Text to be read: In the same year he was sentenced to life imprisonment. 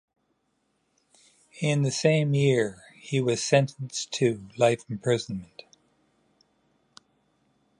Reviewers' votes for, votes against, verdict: 2, 0, accepted